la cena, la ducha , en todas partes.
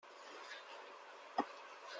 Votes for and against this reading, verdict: 0, 2, rejected